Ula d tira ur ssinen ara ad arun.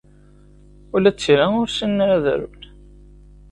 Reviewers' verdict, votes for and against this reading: accepted, 2, 0